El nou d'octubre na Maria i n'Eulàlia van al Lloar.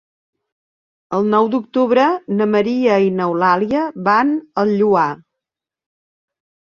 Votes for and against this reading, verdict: 3, 0, accepted